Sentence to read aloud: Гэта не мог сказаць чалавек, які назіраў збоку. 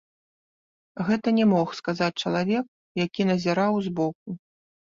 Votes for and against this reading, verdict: 1, 2, rejected